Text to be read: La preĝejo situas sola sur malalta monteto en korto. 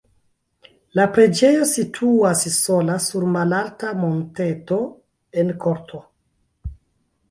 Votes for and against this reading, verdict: 0, 2, rejected